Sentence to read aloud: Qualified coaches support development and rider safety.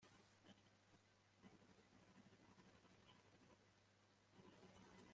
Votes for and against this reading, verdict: 1, 2, rejected